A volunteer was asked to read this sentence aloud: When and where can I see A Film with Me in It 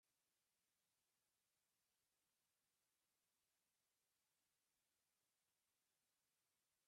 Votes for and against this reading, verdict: 0, 2, rejected